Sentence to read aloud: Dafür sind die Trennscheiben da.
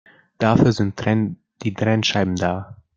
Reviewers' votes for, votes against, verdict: 0, 2, rejected